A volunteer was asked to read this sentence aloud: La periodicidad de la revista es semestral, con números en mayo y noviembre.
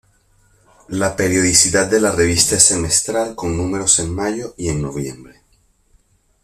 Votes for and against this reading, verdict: 1, 2, rejected